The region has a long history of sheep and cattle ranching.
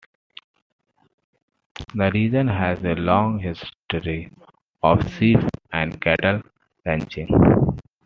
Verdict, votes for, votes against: accepted, 2, 0